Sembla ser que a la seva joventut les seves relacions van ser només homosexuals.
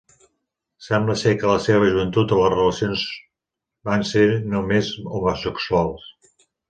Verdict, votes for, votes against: rejected, 0, 2